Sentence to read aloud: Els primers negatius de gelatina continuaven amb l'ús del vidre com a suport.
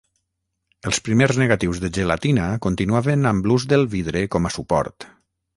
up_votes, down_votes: 6, 0